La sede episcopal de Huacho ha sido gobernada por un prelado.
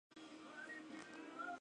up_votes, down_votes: 0, 2